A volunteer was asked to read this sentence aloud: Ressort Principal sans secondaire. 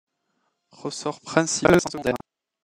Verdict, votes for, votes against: rejected, 0, 2